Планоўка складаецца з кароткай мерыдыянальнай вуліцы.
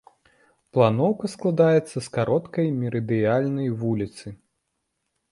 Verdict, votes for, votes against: accepted, 2, 1